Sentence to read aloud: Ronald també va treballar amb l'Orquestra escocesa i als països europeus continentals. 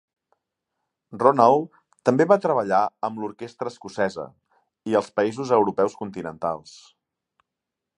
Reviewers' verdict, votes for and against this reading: accepted, 2, 0